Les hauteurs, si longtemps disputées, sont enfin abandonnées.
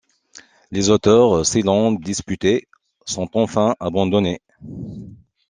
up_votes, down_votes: 0, 2